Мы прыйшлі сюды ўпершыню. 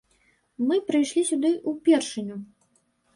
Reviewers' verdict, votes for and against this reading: rejected, 0, 2